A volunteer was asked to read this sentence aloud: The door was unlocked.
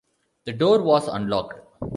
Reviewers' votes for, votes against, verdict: 2, 0, accepted